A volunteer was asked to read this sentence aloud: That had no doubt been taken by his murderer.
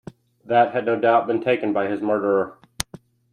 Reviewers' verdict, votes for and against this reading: accepted, 2, 0